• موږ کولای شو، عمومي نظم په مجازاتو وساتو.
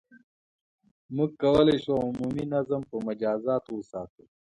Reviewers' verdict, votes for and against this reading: accepted, 2, 0